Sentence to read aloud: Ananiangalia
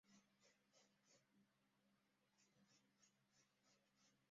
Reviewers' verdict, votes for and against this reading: rejected, 0, 2